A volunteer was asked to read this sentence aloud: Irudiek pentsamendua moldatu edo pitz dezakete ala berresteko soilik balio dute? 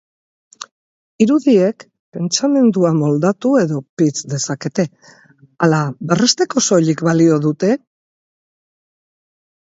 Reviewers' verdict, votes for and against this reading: accepted, 2, 0